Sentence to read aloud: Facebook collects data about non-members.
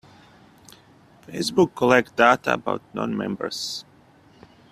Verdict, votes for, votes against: rejected, 1, 2